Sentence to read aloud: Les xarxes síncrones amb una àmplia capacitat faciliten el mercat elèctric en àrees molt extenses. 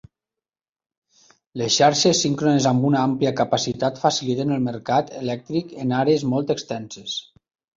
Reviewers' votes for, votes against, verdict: 2, 0, accepted